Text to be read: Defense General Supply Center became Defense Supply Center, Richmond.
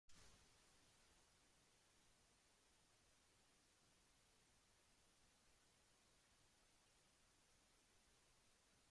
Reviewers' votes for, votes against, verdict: 0, 2, rejected